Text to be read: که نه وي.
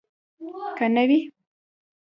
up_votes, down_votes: 2, 0